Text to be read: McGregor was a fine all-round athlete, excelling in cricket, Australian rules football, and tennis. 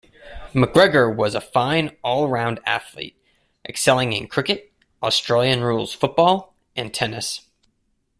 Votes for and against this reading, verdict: 2, 0, accepted